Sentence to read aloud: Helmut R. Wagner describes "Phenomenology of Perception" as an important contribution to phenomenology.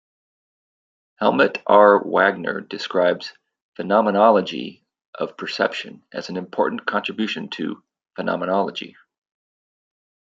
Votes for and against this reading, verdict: 2, 0, accepted